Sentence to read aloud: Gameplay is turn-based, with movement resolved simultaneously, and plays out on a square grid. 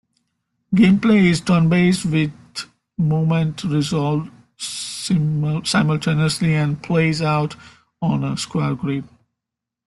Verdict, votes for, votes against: rejected, 0, 3